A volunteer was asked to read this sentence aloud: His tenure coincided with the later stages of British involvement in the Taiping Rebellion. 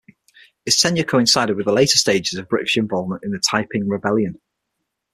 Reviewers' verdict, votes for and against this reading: accepted, 6, 0